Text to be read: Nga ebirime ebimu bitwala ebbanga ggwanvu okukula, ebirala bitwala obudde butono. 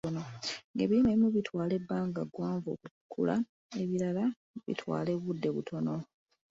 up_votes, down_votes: 2, 1